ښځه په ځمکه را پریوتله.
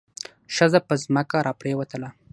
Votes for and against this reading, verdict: 3, 3, rejected